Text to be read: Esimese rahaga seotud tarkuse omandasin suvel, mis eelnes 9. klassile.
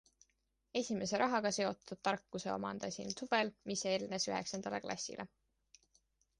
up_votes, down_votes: 0, 2